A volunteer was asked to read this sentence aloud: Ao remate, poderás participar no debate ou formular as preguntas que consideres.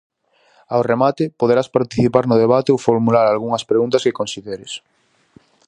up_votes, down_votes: 0, 4